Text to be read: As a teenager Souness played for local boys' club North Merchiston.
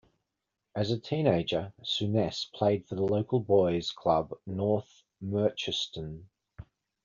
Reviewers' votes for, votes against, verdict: 2, 0, accepted